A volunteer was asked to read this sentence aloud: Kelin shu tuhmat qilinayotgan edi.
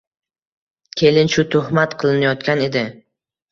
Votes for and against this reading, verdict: 2, 1, accepted